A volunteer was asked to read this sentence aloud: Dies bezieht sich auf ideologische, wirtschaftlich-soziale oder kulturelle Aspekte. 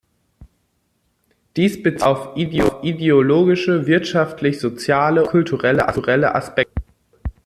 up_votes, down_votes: 0, 2